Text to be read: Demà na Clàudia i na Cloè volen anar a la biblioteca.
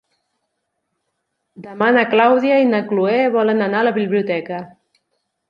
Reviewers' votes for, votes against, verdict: 3, 0, accepted